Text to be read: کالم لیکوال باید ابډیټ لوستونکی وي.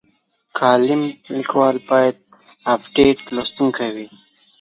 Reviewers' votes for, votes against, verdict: 2, 0, accepted